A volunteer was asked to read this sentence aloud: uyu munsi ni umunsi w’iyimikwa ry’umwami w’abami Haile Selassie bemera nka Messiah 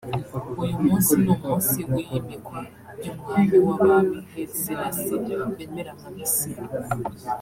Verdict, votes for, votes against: rejected, 1, 2